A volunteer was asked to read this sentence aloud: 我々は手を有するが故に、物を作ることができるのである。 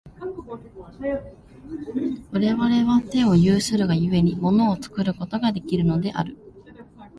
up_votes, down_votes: 0, 2